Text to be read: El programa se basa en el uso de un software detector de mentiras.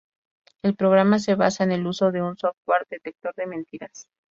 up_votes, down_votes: 2, 0